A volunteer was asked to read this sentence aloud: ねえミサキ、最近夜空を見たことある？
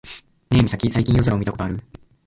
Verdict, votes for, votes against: rejected, 0, 2